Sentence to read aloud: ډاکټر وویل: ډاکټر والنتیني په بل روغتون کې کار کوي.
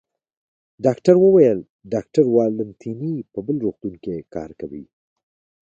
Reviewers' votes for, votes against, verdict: 2, 0, accepted